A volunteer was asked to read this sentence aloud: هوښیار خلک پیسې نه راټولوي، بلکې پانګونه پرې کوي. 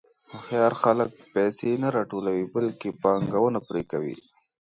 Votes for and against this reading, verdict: 2, 0, accepted